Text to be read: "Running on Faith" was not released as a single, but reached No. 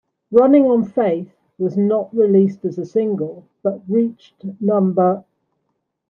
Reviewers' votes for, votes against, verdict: 0, 2, rejected